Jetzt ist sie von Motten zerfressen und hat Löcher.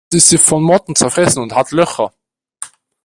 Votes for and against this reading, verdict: 2, 1, accepted